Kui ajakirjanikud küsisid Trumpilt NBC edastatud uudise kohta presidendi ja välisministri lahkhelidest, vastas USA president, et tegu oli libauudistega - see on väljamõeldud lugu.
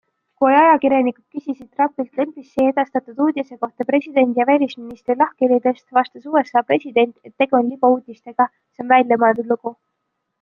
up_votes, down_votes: 2, 1